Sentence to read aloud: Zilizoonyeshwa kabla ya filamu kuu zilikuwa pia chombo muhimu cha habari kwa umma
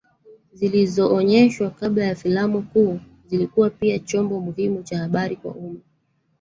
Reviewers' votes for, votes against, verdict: 1, 2, rejected